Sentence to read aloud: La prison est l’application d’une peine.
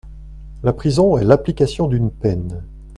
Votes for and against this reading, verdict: 2, 0, accepted